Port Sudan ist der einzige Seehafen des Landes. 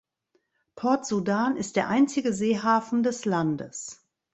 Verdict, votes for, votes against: accepted, 3, 0